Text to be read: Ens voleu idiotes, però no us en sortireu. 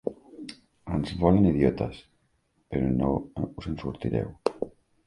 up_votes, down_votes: 1, 2